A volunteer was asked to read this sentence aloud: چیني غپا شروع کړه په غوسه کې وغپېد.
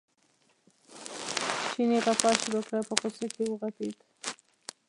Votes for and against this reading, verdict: 1, 2, rejected